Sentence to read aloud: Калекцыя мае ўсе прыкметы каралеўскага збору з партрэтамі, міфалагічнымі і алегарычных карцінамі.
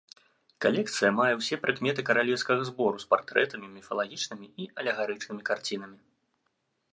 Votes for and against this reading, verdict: 1, 2, rejected